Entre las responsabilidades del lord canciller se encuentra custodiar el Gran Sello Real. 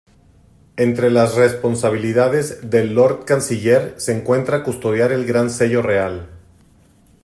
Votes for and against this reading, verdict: 2, 0, accepted